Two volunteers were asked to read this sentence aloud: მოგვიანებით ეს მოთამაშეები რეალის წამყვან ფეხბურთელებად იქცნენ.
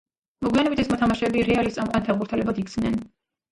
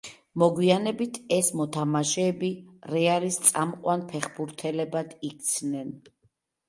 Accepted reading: second